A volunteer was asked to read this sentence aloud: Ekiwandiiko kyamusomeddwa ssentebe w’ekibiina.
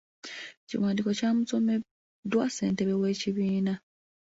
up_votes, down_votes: 2, 1